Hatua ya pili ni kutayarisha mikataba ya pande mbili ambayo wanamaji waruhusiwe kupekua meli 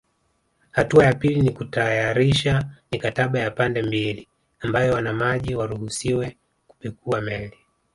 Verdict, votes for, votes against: rejected, 1, 2